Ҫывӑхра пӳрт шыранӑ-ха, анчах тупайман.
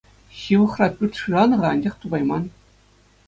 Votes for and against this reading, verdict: 2, 0, accepted